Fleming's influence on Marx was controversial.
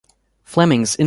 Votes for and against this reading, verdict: 0, 2, rejected